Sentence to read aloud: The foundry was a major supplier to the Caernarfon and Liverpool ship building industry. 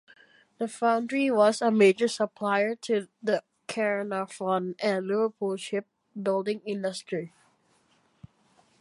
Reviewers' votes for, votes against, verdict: 2, 0, accepted